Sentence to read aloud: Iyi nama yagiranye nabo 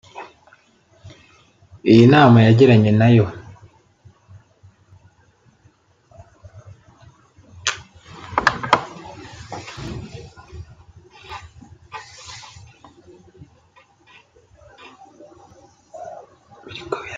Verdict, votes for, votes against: rejected, 0, 2